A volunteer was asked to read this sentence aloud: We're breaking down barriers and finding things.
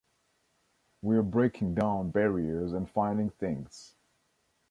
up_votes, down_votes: 1, 2